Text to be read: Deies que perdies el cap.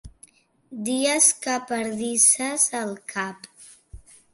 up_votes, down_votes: 0, 2